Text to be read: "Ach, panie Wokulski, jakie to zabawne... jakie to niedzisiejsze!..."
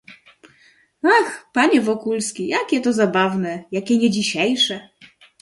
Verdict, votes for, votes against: rejected, 0, 2